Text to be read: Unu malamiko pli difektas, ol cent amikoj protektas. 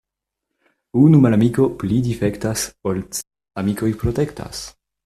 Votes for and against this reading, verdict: 0, 2, rejected